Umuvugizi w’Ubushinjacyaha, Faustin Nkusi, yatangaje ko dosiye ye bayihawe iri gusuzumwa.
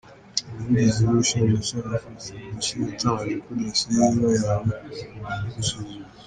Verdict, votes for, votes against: rejected, 0, 2